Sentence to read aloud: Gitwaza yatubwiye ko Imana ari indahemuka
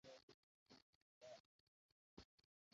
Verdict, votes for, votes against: rejected, 0, 2